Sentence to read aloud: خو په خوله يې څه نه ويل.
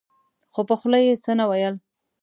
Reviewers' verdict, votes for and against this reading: accepted, 2, 1